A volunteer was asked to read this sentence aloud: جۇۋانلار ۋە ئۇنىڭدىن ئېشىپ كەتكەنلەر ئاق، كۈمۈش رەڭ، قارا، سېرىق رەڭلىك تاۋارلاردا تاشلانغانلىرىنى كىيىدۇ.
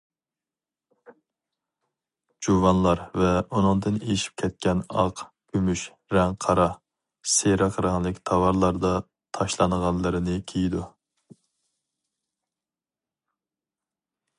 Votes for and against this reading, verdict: 0, 2, rejected